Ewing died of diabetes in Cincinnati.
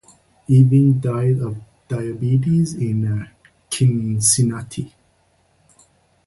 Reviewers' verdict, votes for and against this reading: rejected, 0, 2